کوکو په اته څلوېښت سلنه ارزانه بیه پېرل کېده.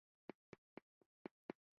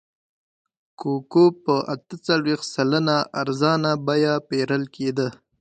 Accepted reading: second